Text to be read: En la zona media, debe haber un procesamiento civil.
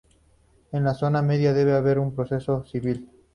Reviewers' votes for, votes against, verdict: 0, 2, rejected